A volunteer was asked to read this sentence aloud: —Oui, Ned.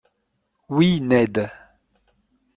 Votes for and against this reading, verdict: 2, 0, accepted